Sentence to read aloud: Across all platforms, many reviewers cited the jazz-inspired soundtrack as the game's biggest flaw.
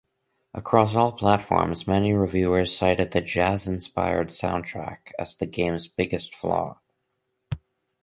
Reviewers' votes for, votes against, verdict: 2, 2, rejected